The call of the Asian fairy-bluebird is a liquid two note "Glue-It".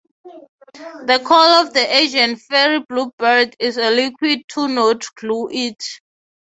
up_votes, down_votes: 0, 3